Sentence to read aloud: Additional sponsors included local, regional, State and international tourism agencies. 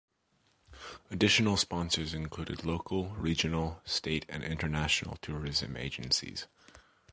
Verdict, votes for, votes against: accepted, 2, 0